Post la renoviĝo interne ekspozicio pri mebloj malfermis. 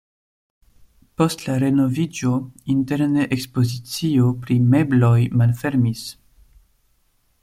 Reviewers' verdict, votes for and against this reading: accepted, 2, 0